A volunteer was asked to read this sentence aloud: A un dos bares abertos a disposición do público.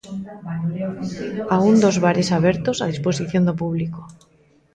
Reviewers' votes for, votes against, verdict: 0, 2, rejected